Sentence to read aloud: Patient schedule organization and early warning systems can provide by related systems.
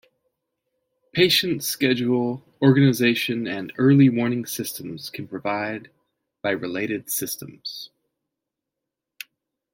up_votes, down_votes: 2, 0